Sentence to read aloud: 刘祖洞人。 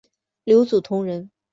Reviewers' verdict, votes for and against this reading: rejected, 0, 2